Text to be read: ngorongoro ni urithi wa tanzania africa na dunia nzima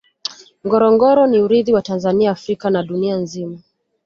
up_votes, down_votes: 2, 0